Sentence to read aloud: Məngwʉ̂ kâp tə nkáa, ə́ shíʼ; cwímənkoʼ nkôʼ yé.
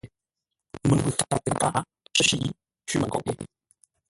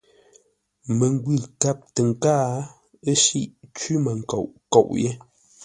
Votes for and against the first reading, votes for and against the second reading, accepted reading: 0, 2, 2, 0, second